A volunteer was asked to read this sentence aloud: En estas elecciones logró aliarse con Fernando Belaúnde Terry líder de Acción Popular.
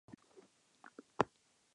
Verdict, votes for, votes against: rejected, 0, 2